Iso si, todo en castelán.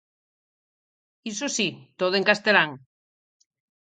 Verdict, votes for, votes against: accepted, 4, 0